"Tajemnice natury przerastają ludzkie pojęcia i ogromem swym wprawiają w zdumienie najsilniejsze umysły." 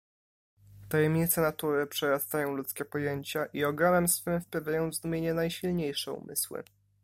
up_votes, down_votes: 3, 0